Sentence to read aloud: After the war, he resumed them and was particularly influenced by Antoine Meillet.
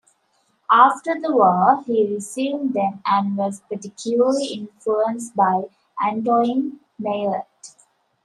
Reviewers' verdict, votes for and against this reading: rejected, 0, 2